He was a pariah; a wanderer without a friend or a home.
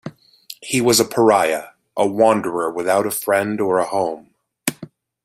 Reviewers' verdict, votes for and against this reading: accepted, 2, 0